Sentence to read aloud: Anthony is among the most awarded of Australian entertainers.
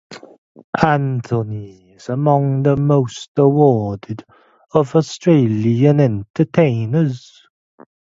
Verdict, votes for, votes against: accepted, 2, 0